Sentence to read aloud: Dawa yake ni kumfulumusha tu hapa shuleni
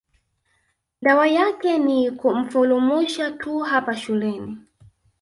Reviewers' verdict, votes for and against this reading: accepted, 2, 0